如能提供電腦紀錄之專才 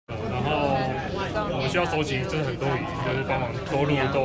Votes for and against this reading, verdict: 0, 2, rejected